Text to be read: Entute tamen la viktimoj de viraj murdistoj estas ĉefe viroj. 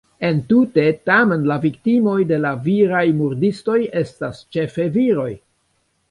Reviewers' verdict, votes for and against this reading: rejected, 1, 2